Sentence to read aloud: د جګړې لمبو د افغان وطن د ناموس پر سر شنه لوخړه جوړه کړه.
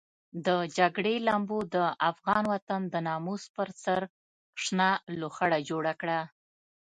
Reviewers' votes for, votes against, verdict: 2, 0, accepted